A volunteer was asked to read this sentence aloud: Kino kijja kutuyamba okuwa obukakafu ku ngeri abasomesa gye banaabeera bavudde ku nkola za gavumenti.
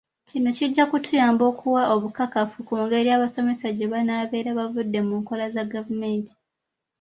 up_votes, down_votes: 2, 1